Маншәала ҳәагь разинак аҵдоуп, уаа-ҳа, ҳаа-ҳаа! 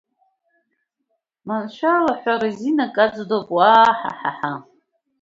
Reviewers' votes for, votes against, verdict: 0, 2, rejected